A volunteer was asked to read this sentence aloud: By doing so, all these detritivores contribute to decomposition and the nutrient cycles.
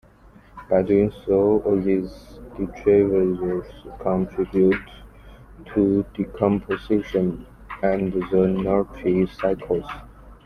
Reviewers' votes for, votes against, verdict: 1, 2, rejected